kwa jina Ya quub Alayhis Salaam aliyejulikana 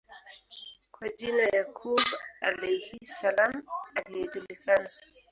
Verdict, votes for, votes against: rejected, 0, 2